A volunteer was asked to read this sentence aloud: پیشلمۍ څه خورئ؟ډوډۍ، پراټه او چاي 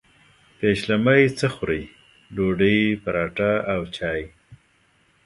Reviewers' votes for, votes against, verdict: 3, 0, accepted